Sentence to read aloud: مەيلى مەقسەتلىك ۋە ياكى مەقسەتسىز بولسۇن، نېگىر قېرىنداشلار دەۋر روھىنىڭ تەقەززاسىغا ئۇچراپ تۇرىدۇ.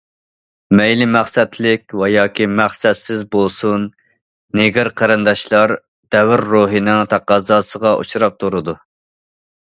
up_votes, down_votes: 2, 0